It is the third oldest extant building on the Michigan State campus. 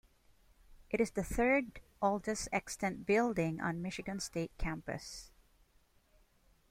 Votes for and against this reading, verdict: 0, 2, rejected